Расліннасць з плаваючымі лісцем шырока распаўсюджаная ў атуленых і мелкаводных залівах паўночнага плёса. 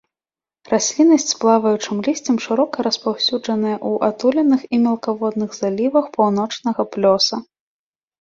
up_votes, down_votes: 2, 0